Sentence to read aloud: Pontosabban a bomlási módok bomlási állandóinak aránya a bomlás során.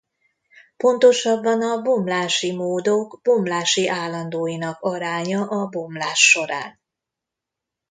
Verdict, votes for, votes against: rejected, 1, 2